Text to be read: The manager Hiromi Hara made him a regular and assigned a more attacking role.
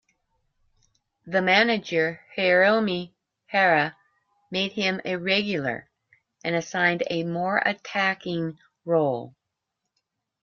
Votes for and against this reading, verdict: 2, 0, accepted